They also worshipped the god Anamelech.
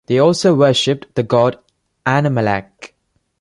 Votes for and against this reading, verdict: 2, 0, accepted